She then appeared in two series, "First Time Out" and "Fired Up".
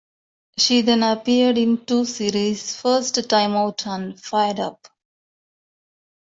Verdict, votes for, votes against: accepted, 2, 1